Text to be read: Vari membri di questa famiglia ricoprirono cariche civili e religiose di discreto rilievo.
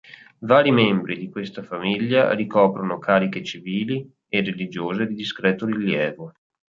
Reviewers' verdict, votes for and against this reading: rejected, 1, 2